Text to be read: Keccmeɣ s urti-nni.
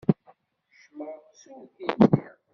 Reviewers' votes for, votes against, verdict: 0, 2, rejected